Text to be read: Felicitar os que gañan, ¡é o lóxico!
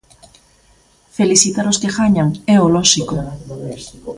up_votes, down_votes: 0, 2